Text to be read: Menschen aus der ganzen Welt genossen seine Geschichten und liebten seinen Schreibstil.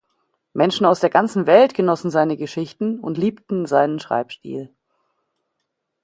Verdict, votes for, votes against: accepted, 2, 0